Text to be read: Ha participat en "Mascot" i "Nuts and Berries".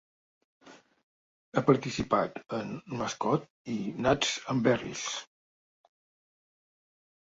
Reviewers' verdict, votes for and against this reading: accepted, 2, 0